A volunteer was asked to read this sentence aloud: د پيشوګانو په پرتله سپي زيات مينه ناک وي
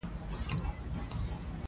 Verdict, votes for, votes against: rejected, 0, 2